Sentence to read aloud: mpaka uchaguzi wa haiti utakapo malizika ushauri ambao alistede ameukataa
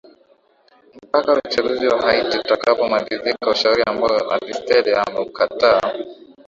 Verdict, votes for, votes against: rejected, 0, 2